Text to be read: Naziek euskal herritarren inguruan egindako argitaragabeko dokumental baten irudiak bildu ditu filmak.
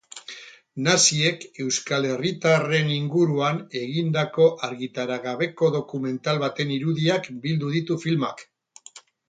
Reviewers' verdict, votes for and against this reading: accepted, 4, 0